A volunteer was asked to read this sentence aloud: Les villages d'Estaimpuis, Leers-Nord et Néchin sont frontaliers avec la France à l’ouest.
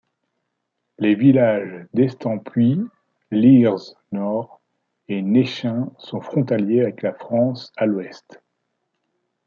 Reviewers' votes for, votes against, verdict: 2, 1, accepted